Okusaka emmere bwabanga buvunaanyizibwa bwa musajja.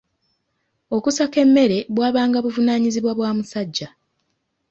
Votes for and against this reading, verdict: 2, 1, accepted